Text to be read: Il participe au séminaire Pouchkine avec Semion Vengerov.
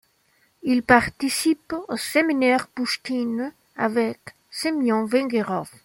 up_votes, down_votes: 1, 2